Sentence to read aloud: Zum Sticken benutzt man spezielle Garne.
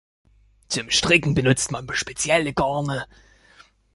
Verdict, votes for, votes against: rejected, 1, 2